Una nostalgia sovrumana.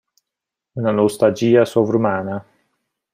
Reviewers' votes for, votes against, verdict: 2, 0, accepted